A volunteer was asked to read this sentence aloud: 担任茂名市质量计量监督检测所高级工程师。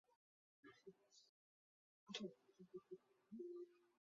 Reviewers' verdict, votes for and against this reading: rejected, 0, 2